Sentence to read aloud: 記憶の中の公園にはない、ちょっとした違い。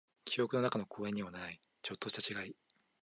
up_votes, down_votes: 2, 0